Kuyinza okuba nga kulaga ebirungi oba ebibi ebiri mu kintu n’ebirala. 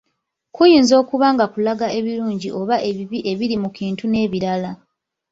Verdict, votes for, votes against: rejected, 0, 2